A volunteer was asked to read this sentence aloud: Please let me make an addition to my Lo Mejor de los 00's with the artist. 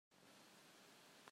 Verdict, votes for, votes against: rejected, 0, 2